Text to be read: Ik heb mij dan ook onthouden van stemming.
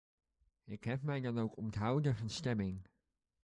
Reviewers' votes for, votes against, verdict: 2, 0, accepted